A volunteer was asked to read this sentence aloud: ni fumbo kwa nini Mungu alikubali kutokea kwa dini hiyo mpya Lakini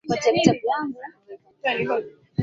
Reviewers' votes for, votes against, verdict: 3, 6, rejected